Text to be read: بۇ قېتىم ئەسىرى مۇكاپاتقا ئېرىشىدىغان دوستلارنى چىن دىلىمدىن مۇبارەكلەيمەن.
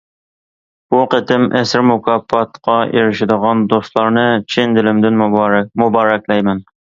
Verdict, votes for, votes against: rejected, 0, 2